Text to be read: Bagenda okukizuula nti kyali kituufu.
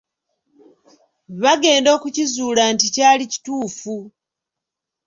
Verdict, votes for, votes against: rejected, 1, 2